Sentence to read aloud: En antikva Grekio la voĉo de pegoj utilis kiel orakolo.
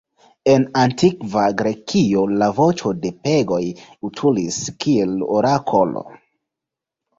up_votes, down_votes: 1, 2